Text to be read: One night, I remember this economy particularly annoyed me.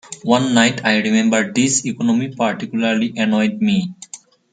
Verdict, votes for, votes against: accepted, 2, 0